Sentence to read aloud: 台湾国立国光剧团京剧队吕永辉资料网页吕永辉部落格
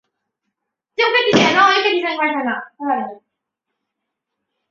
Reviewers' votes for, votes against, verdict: 0, 2, rejected